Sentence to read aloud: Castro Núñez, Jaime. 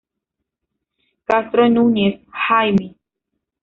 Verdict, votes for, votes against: accepted, 2, 0